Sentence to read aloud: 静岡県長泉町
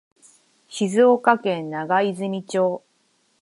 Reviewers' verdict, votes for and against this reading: accepted, 6, 0